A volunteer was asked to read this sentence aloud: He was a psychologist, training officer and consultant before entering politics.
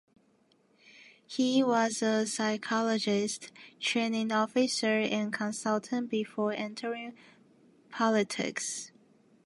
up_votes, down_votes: 2, 0